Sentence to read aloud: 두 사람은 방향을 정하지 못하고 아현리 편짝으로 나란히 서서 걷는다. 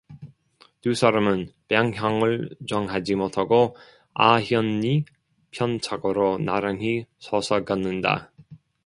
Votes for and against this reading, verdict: 0, 2, rejected